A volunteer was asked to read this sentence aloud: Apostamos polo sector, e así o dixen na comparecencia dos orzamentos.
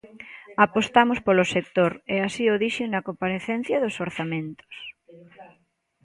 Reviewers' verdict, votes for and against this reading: accepted, 2, 1